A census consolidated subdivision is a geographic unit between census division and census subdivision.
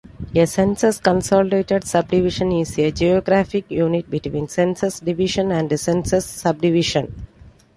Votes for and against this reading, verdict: 2, 1, accepted